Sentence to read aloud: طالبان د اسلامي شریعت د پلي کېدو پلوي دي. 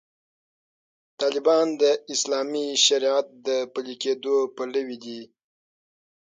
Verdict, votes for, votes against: accepted, 9, 0